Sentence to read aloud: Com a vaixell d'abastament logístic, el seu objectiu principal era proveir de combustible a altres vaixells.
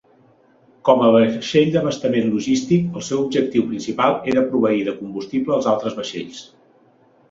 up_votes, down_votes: 1, 2